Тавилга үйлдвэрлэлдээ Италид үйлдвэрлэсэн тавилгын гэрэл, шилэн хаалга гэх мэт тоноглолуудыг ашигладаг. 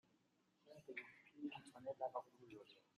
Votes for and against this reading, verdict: 0, 2, rejected